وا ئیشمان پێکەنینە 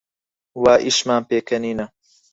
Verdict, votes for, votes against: accepted, 4, 0